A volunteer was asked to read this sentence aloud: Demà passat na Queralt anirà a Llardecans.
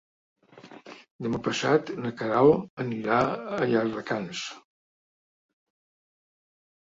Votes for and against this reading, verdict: 3, 0, accepted